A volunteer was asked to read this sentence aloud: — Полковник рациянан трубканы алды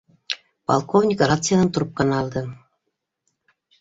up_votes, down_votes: 2, 0